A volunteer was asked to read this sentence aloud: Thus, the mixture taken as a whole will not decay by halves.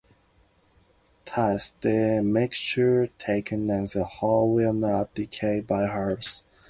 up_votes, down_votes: 2, 0